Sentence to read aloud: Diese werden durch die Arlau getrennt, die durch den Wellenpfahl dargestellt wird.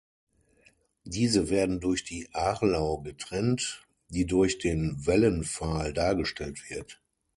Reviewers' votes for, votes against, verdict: 6, 0, accepted